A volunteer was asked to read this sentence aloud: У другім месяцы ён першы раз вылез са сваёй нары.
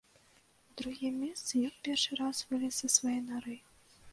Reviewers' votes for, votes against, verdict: 1, 2, rejected